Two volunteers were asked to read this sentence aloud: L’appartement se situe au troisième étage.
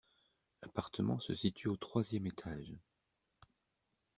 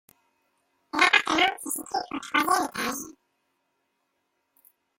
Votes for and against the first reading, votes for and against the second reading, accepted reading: 2, 0, 0, 3, first